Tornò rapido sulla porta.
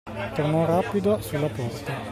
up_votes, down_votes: 2, 0